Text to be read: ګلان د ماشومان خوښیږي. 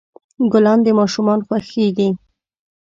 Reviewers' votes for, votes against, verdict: 2, 0, accepted